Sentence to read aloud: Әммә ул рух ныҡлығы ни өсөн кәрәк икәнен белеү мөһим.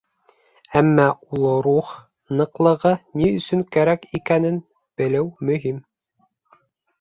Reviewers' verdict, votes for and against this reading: accepted, 4, 0